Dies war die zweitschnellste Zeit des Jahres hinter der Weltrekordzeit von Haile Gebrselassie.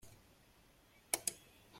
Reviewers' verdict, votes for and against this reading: rejected, 0, 2